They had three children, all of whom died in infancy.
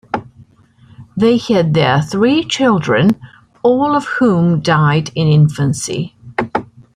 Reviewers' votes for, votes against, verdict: 1, 2, rejected